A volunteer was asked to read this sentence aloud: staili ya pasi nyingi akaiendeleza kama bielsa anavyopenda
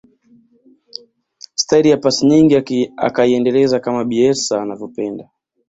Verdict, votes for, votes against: accepted, 2, 0